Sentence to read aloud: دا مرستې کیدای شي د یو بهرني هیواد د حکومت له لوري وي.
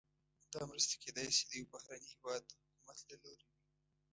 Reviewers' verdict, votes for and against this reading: rejected, 1, 2